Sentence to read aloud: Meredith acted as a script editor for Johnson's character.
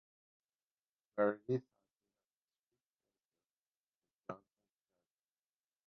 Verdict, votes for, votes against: rejected, 0, 2